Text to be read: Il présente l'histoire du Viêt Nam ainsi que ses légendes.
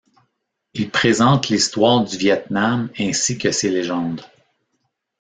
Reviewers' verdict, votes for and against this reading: accepted, 2, 0